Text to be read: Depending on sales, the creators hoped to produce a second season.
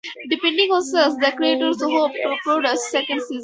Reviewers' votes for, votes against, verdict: 2, 4, rejected